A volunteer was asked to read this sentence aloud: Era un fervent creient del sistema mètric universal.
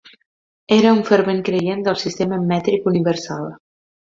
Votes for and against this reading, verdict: 2, 0, accepted